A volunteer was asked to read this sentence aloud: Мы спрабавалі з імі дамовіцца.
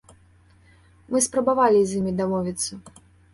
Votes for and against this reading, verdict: 2, 0, accepted